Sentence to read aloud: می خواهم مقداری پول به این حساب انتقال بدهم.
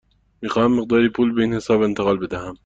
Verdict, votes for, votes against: accepted, 2, 0